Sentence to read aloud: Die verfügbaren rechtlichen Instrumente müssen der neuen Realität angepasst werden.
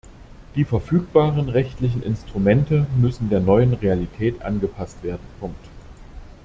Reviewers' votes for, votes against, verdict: 0, 2, rejected